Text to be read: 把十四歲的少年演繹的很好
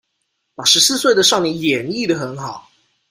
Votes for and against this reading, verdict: 2, 0, accepted